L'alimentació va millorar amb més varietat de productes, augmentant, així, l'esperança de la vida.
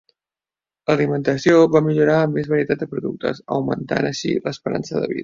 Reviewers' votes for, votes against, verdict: 0, 2, rejected